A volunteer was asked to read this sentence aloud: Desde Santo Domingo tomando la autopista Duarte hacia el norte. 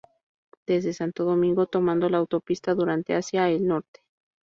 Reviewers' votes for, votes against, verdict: 0, 4, rejected